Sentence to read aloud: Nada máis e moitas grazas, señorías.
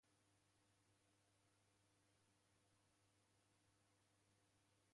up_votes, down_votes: 0, 2